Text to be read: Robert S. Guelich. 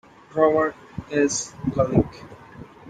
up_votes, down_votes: 2, 0